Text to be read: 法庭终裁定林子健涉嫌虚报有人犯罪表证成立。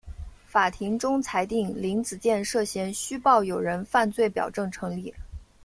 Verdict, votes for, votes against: accepted, 2, 0